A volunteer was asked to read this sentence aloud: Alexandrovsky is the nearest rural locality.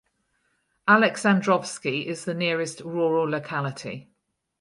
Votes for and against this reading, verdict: 2, 0, accepted